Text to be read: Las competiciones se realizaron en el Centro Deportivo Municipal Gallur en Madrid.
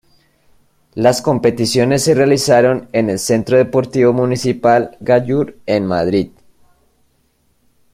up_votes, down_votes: 1, 2